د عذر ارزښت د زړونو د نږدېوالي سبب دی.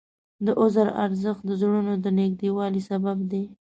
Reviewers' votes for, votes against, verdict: 2, 0, accepted